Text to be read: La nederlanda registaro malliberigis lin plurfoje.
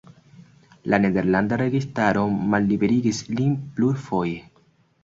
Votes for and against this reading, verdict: 2, 0, accepted